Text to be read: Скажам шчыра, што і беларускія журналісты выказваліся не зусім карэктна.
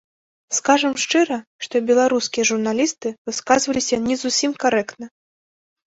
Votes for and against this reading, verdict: 1, 2, rejected